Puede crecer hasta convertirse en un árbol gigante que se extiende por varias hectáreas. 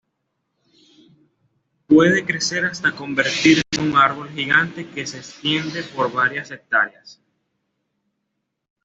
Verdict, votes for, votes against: rejected, 0, 2